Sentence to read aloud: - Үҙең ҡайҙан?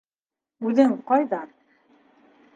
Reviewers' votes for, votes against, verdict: 4, 0, accepted